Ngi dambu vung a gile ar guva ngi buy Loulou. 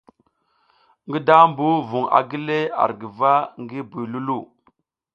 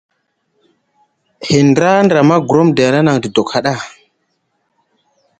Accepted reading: first